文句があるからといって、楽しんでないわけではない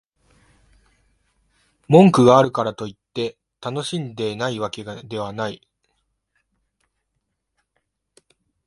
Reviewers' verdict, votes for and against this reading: rejected, 1, 2